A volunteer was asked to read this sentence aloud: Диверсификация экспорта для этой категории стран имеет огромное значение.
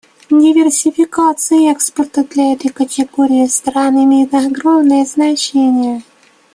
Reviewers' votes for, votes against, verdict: 1, 2, rejected